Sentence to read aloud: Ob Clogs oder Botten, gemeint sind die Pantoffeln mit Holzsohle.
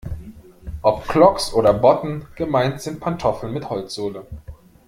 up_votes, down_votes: 0, 2